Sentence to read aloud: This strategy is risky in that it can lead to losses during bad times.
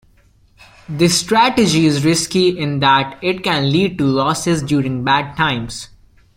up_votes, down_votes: 2, 0